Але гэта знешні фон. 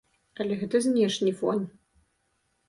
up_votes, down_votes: 2, 0